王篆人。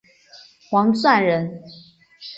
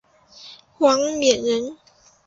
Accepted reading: first